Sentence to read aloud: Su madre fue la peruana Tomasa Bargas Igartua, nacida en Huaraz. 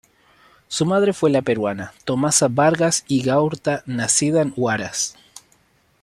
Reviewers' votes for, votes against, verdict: 1, 2, rejected